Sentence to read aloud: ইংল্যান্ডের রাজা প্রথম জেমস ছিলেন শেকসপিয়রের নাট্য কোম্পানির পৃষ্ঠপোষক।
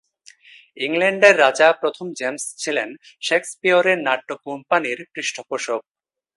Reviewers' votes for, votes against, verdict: 2, 0, accepted